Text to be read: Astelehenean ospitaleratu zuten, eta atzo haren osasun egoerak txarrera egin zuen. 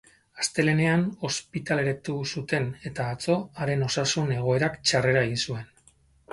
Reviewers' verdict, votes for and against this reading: accepted, 2, 0